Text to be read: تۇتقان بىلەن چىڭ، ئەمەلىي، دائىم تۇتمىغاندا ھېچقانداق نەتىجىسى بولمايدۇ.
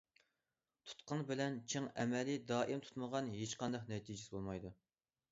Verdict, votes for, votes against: rejected, 0, 2